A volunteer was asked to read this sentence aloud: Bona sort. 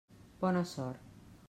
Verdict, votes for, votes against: accepted, 3, 0